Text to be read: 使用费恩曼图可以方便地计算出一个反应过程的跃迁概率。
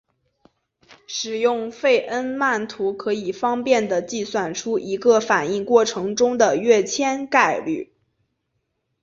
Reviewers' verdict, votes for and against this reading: rejected, 0, 3